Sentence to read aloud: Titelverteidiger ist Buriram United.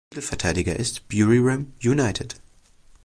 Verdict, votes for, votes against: rejected, 0, 2